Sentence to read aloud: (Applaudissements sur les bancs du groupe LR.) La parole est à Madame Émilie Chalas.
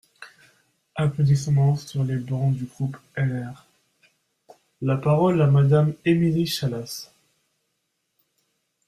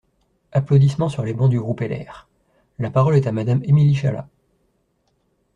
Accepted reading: second